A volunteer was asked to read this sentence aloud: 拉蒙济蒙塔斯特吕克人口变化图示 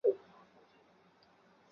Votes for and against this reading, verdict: 2, 1, accepted